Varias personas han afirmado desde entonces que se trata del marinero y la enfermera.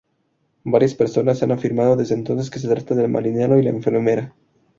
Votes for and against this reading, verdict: 2, 0, accepted